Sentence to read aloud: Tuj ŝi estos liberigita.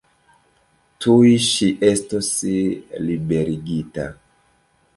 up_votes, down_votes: 0, 2